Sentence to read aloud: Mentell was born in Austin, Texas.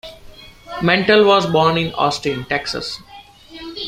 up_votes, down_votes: 2, 1